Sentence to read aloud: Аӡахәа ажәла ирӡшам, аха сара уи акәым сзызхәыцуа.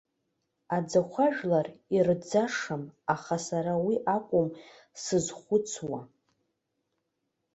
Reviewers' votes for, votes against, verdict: 2, 1, accepted